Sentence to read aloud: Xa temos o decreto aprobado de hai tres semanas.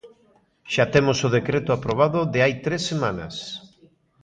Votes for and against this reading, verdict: 2, 1, accepted